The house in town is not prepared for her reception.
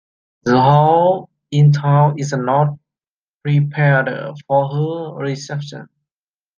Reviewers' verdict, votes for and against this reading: rejected, 0, 2